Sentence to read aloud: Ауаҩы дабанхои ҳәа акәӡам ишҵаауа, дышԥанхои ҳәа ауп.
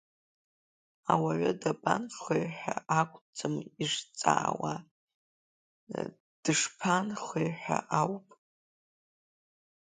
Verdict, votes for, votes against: rejected, 0, 2